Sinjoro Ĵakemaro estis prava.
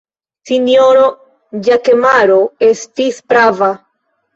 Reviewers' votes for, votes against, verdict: 2, 0, accepted